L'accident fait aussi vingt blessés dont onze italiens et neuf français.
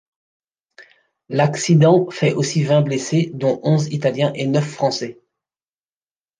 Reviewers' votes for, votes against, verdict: 2, 0, accepted